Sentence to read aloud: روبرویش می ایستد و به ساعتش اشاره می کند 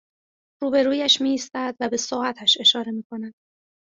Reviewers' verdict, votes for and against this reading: accepted, 3, 0